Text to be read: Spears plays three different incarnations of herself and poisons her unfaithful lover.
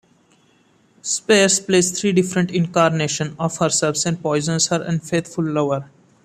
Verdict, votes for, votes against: accepted, 2, 1